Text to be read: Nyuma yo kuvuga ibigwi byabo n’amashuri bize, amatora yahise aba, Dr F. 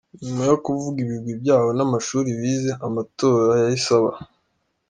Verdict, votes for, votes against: accepted, 2, 0